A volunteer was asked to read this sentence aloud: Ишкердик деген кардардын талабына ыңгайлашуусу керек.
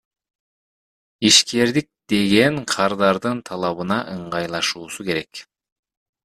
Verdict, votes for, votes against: rejected, 1, 2